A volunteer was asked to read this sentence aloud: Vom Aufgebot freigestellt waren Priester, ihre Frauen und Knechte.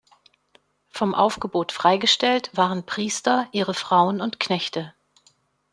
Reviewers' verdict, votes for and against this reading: accepted, 2, 0